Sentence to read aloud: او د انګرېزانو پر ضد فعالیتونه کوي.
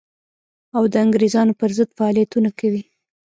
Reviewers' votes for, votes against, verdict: 0, 2, rejected